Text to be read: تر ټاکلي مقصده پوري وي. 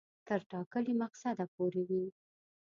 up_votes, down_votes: 1, 2